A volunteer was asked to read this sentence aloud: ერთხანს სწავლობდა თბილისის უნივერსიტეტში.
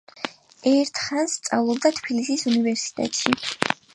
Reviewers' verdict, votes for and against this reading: accepted, 6, 0